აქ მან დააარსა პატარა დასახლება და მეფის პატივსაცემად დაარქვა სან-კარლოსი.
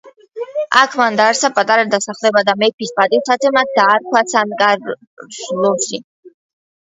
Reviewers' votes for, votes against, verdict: 1, 2, rejected